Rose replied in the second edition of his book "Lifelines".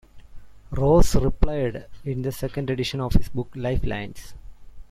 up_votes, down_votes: 0, 2